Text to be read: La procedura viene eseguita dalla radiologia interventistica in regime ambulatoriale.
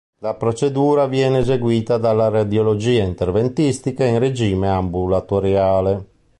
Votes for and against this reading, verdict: 2, 0, accepted